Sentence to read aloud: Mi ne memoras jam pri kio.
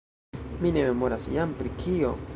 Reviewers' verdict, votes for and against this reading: rejected, 1, 2